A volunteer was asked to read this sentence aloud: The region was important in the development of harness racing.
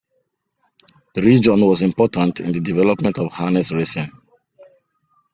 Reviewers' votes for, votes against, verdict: 0, 2, rejected